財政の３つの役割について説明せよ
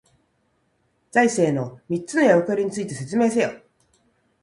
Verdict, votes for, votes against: rejected, 0, 2